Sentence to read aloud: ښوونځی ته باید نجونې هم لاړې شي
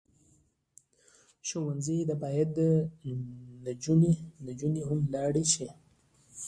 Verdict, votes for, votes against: accepted, 2, 0